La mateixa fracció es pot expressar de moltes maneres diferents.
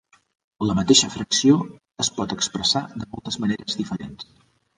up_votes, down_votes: 2, 1